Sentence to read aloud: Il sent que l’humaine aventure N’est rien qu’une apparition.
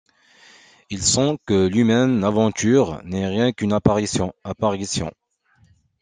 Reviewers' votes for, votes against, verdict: 0, 2, rejected